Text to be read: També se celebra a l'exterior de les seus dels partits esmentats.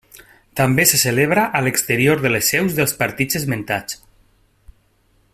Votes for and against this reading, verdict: 3, 0, accepted